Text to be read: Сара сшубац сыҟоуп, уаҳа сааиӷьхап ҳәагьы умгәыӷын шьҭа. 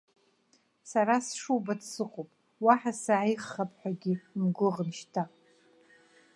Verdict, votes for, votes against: accepted, 2, 1